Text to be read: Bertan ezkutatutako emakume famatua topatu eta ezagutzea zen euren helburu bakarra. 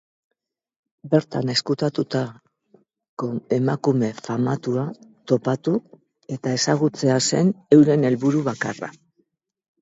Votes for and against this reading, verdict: 10, 6, accepted